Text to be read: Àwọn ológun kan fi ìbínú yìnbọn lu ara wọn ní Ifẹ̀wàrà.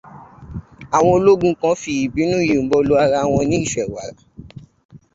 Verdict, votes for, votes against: rejected, 0, 2